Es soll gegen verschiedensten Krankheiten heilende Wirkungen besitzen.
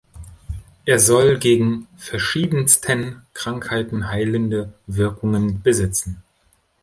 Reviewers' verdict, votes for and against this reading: rejected, 1, 2